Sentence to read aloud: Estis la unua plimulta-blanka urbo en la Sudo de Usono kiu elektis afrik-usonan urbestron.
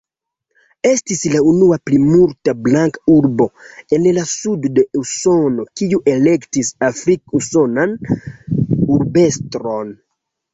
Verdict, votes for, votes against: accepted, 2, 1